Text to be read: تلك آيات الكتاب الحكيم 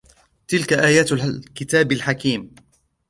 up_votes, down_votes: 2, 1